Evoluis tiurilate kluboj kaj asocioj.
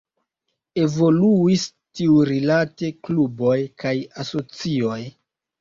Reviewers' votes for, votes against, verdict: 1, 2, rejected